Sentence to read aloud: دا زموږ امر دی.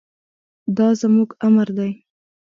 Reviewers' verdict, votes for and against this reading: accepted, 2, 0